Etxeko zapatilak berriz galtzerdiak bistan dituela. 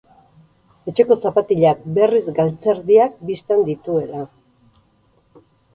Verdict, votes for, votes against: accepted, 4, 0